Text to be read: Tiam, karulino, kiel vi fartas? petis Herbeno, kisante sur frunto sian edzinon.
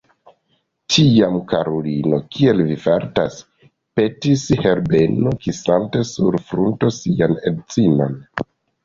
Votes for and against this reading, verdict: 0, 2, rejected